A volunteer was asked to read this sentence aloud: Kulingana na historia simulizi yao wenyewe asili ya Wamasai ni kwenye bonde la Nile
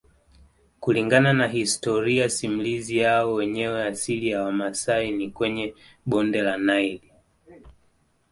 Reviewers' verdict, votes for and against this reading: accepted, 2, 0